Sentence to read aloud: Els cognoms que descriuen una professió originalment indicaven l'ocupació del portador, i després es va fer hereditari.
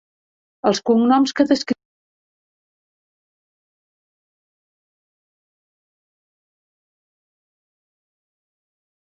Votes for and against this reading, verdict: 0, 2, rejected